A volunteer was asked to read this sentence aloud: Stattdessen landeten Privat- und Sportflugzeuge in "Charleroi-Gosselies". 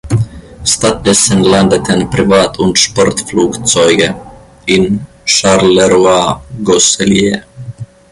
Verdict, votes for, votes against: rejected, 1, 2